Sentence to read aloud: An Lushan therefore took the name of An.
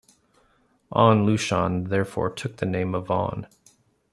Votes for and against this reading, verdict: 2, 0, accepted